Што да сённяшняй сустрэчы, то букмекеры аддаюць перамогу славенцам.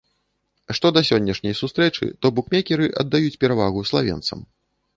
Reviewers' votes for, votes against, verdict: 1, 2, rejected